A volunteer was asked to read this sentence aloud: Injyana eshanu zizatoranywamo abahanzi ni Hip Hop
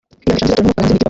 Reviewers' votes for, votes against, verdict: 0, 4, rejected